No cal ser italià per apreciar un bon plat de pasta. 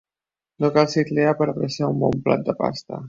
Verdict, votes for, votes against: rejected, 0, 2